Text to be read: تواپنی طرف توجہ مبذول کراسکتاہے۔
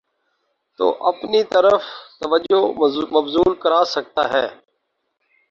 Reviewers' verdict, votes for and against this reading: rejected, 0, 2